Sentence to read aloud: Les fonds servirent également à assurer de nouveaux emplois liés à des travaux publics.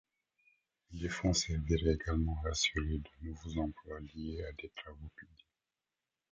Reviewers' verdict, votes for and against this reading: rejected, 1, 2